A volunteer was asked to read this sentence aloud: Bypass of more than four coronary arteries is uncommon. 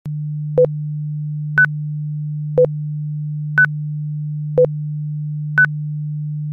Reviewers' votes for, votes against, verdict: 0, 2, rejected